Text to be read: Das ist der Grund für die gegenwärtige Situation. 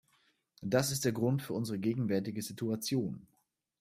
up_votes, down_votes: 1, 2